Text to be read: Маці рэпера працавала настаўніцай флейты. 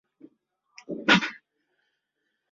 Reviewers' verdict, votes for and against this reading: rejected, 0, 2